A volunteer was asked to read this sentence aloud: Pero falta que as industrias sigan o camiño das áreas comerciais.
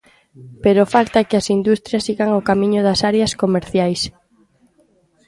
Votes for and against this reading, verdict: 2, 0, accepted